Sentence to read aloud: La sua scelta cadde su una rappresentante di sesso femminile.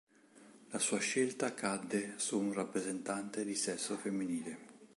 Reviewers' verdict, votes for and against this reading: rejected, 1, 2